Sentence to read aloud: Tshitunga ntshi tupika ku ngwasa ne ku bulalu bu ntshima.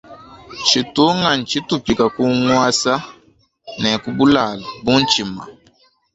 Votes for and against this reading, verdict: 2, 1, accepted